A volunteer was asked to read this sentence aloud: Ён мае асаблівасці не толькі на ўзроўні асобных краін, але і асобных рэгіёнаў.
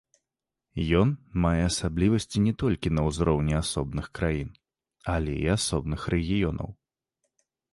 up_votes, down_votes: 3, 0